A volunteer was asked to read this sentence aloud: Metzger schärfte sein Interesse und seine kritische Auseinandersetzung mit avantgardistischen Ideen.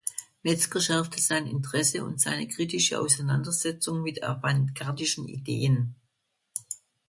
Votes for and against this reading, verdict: 0, 2, rejected